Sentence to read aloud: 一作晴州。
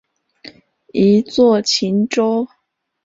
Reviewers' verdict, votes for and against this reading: accepted, 2, 0